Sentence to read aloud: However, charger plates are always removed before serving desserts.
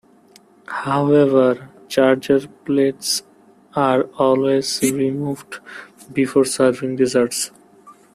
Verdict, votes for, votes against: rejected, 1, 2